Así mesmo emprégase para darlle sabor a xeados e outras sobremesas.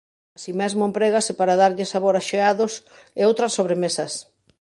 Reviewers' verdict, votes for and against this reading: rejected, 1, 2